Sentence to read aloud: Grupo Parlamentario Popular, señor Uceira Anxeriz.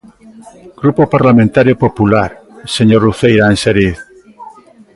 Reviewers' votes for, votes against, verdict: 1, 2, rejected